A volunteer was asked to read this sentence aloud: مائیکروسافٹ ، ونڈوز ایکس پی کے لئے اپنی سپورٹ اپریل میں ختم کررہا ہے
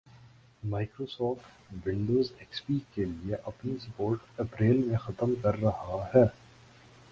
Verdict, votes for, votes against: accepted, 2, 0